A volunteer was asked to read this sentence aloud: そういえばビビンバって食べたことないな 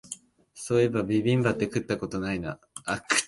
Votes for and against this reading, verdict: 0, 2, rejected